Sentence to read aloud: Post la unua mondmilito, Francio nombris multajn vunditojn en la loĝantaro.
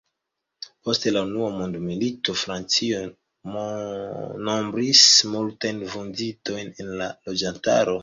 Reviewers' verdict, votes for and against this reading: rejected, 1, 2